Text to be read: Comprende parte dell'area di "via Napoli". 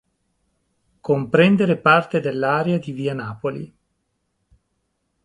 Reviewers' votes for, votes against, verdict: 0, 2, rejected